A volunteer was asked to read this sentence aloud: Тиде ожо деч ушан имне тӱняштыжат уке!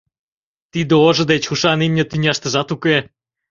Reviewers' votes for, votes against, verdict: 2, 0, accepted